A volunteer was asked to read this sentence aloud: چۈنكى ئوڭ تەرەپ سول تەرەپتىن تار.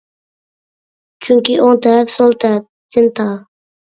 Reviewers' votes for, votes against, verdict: 1, 2, rejected